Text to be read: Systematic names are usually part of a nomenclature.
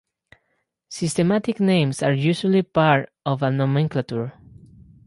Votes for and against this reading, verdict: 0, 2, rejected